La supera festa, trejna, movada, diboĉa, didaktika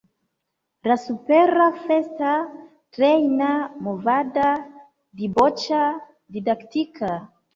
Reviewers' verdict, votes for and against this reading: accepted, 2, 0